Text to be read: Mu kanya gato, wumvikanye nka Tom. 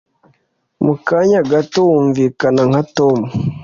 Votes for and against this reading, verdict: 1, 2, rejected